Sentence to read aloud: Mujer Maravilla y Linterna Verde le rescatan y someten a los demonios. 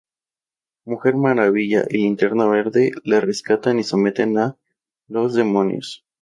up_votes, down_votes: 2, 0